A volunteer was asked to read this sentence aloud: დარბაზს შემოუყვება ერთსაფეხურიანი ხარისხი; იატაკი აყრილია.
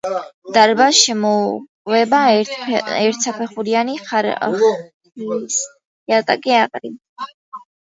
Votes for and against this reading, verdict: 1, 2, rejected